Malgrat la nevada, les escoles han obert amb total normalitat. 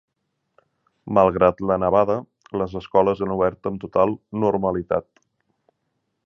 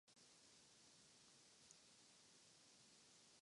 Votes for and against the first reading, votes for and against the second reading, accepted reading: 3, 0, 0, 2, first